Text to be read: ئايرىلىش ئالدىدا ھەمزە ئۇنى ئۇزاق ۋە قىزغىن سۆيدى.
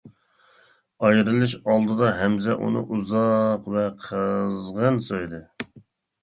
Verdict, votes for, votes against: accepted, 2, 1